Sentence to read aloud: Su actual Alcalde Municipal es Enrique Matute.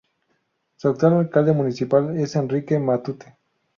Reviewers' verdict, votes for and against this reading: accepted, 2, 0